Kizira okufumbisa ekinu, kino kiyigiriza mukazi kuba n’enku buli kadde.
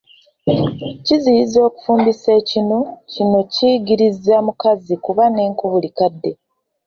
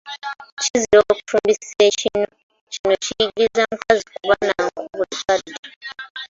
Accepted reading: first